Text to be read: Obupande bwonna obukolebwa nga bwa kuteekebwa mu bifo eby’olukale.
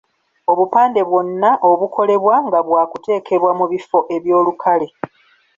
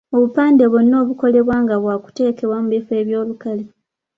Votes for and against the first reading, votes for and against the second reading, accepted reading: 1, 2, 2, 0, second